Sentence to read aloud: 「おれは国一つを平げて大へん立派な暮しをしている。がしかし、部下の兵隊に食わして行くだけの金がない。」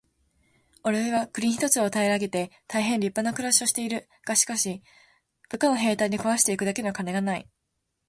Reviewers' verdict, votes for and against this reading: accepted, 2, 0